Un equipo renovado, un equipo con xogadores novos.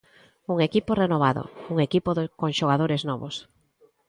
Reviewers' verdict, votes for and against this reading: rejected, 1, 2